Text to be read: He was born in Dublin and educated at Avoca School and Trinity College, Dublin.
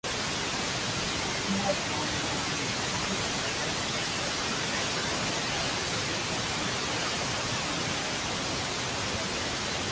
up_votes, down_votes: 0, 2